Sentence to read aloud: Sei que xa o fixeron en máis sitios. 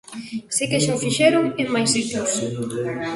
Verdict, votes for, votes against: rejected, 1, 2